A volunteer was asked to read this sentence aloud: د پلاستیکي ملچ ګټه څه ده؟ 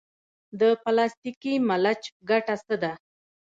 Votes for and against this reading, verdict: 0, 2, rejected